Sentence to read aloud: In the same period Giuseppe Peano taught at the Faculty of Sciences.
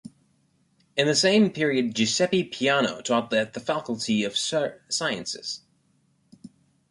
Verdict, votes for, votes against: rejected, 1, 2